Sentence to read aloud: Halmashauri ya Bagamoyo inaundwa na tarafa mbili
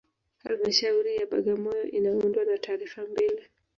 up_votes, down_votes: 0, 2